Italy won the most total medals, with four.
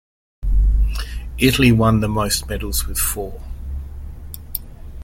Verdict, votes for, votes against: rejected, 1, 2